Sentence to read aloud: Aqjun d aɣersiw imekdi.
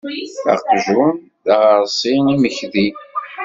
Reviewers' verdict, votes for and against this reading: rejected, 1, 2